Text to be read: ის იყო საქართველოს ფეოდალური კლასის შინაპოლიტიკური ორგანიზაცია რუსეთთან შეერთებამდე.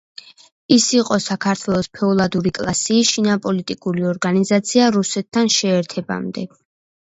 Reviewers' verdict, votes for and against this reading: rejected, 0, 2